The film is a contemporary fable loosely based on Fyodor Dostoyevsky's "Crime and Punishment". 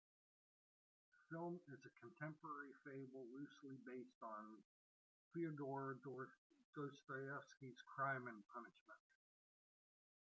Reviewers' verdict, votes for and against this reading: accepted, 2, 0